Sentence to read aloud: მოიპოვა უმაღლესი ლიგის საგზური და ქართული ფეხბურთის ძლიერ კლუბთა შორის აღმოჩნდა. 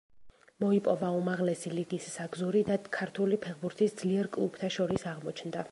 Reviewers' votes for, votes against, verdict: 2, 0, accepted